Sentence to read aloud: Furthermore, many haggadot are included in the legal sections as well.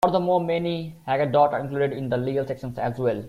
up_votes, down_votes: 2, 0